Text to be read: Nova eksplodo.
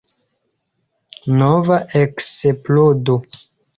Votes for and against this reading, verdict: 2, 0, accepted